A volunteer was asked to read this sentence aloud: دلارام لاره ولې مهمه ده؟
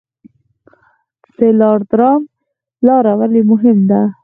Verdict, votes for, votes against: accepted, 4, 0